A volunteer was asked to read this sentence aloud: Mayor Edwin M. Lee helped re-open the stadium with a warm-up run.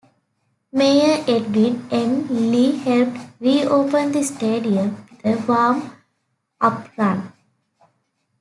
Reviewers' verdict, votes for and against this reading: rejected, 0, 2